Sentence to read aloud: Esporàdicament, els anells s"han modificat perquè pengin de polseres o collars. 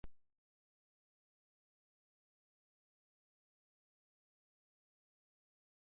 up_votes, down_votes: 0, 3